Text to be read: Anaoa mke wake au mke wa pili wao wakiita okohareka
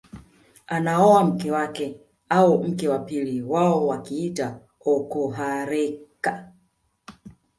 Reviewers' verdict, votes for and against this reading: rejected, 0, 2